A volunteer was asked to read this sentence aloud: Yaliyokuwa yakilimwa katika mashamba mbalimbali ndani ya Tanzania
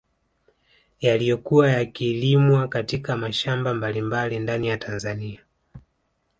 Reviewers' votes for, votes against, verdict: 2, 1, accepted